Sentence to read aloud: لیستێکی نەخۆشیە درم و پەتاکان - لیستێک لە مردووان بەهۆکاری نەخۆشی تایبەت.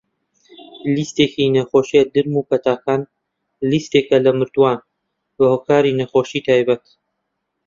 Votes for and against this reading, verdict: 0, 2, rejected